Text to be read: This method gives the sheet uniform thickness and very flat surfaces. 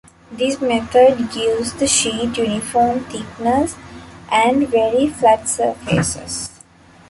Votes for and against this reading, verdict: 2, 0, accepted